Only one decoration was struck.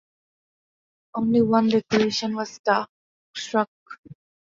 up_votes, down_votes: 0, 2